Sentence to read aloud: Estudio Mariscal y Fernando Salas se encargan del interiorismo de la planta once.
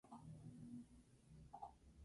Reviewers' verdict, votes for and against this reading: rejected, 0, 2